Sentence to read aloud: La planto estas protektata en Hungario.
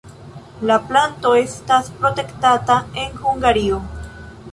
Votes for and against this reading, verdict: 1, 2, rejected